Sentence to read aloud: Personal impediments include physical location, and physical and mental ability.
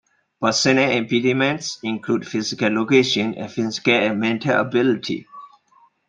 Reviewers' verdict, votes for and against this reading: rejected, 0, 2